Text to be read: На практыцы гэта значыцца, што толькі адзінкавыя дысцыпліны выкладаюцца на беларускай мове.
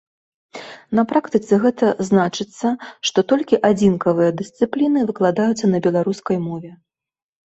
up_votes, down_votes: 2, 0